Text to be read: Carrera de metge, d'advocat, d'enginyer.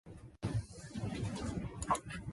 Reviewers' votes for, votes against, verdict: 0, 2, rejected